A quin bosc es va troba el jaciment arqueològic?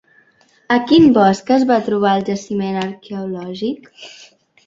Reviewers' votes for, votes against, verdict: 1, 2, rejected